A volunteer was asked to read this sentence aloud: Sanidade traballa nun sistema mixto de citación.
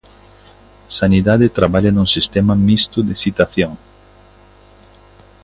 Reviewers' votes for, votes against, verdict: 2, 0, accepted